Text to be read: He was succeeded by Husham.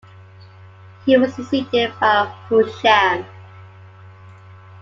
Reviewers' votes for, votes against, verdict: 2, 0, accepted